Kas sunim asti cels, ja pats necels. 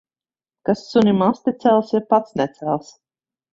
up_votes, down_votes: 2, 0